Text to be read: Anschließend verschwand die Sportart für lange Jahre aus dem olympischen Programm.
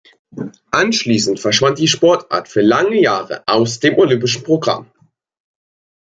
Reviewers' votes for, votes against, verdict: 2, 0, accepted